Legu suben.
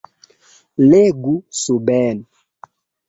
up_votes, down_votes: 1, 2